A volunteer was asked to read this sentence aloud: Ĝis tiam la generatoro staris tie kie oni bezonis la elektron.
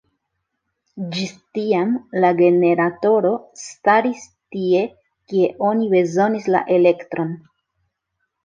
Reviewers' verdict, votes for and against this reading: rejected, 1, 2